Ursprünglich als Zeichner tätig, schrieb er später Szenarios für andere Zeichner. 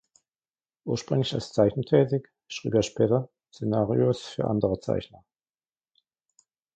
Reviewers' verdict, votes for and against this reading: rejected, 0, 2